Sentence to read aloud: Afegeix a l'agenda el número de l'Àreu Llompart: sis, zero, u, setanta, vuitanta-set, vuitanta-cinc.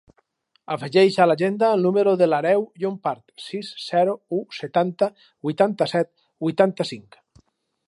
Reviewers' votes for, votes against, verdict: 2, 2, rejected